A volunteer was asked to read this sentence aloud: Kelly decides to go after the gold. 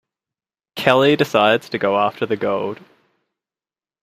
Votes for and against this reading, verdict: 2, 0, accepted